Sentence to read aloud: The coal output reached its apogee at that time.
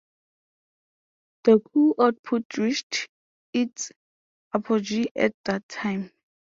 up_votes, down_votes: 0, 2